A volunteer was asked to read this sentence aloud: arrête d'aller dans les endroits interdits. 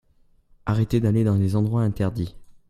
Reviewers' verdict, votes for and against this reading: rejected, 0, 2